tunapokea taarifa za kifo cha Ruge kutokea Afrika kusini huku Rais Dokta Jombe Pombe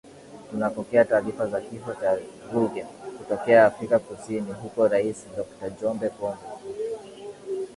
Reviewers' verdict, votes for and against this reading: accepted, 2, 0